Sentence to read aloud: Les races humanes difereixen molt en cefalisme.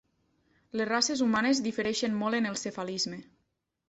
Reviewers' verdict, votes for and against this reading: rejected, 0, 2